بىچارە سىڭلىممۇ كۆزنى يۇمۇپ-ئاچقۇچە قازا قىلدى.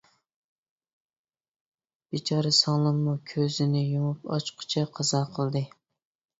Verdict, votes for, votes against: rejected, 1, 2